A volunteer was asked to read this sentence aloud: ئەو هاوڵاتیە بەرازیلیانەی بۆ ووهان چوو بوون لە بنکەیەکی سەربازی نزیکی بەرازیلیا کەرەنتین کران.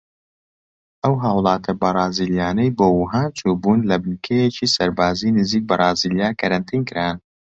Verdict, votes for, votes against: accepted, 2, 0